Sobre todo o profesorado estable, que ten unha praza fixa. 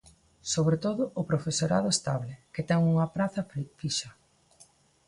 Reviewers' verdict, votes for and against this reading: rejected, 0, 2